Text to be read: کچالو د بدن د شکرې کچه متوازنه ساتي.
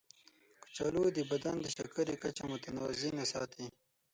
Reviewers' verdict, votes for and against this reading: rejected, 3, 6